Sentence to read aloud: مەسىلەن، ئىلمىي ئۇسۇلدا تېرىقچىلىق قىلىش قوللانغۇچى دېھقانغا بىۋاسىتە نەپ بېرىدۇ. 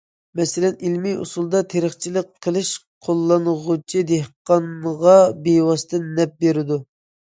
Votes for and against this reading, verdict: 2, 0, accepted